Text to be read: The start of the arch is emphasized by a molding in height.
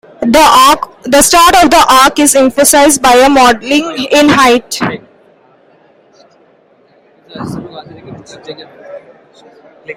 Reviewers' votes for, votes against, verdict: 1, 2, rejected